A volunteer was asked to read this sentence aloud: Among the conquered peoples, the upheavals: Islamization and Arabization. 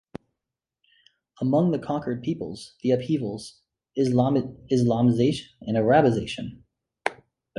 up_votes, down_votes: 0, 2